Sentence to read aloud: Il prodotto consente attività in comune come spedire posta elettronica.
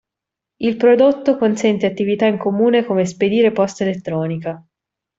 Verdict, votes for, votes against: accepted, 2, 0